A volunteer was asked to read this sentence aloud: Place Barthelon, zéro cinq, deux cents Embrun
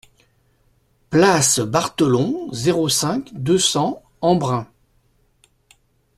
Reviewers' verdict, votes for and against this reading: accepted, 2, 0